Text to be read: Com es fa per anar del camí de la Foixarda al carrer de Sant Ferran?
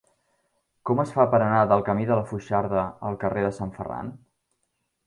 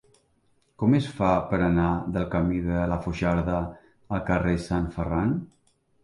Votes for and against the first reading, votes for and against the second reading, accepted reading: 4, 0, 0, 2, first